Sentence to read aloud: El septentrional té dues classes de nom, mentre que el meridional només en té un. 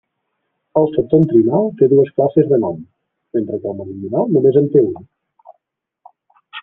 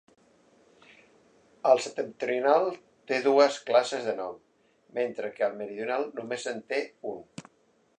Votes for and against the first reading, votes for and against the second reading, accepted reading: 0, 2, 2, 0, second